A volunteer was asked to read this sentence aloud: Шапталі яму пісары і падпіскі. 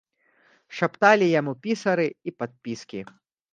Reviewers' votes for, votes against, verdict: 2, 0, accepted